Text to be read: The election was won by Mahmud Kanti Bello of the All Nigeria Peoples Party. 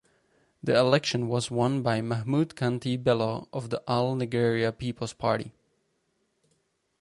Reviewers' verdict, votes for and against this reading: rejected, 2, 4